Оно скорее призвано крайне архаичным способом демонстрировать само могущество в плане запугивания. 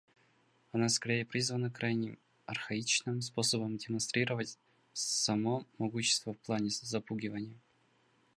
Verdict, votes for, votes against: accepted, 2, 0